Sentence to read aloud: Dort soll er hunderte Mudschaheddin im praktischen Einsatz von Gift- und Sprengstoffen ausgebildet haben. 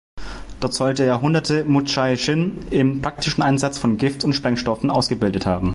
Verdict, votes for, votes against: rejected, 0, 2